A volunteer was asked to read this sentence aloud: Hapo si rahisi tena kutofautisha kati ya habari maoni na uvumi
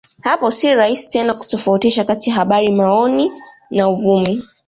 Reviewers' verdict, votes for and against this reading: accepted, 2, 0